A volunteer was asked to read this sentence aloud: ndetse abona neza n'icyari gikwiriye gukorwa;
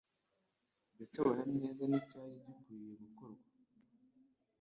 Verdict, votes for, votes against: rejected, 1, 2